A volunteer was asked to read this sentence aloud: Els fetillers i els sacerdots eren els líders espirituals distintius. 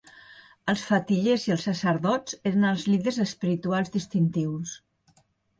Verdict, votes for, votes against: accepted, 2, 0